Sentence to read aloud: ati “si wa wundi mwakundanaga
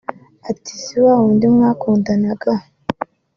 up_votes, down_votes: 2, 0